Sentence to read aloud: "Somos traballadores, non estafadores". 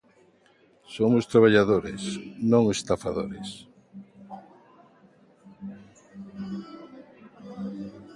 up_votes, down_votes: 2, 0